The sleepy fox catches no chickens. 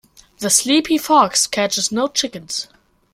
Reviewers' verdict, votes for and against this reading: accepted, 3, 0